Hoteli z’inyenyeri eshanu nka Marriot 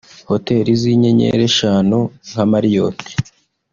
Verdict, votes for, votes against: accepted, 2, 0